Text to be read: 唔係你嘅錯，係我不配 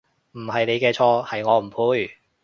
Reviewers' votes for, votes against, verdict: 0, 2, rejected